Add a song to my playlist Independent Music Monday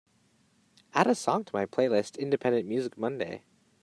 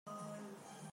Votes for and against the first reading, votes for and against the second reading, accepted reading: 2, 1, 0, 2, first